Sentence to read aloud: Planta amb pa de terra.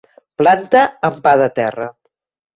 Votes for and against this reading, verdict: 3, 0, accepted